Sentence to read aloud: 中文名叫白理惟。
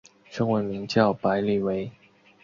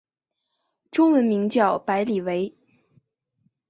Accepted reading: second